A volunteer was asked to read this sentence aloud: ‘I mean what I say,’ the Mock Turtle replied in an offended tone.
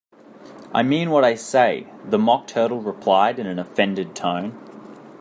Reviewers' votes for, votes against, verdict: 2, 0, accepted